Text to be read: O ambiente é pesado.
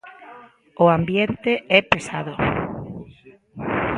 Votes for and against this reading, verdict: 1, 2, rejected